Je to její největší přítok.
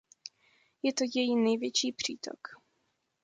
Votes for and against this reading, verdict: 2, 0, accepted